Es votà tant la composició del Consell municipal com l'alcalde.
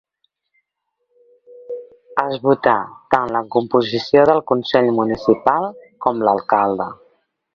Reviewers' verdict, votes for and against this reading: accepted, 2, 1